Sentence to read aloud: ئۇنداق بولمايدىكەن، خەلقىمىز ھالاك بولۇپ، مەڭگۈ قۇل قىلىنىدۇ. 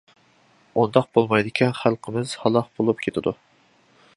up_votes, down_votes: 0, 2